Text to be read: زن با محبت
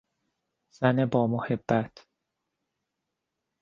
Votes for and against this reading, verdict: 2, 0, accepted